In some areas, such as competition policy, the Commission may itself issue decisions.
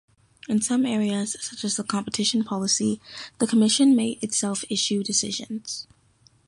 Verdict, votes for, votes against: accepted, 2, 0